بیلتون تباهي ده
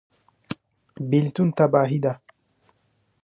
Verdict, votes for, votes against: accepted, 2, 1